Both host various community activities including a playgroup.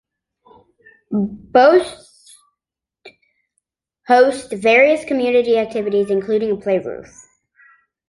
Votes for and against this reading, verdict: 1, 2, rejected